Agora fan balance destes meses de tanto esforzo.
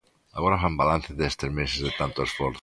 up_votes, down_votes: 2, 0